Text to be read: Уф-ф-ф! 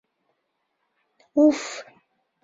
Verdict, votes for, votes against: accepted, 2, 0